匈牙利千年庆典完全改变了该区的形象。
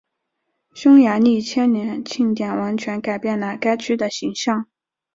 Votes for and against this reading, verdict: 2, 0, accepted